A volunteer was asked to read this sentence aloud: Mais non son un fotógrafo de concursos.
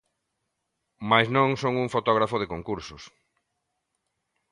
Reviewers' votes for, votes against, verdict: 2, 0, accepted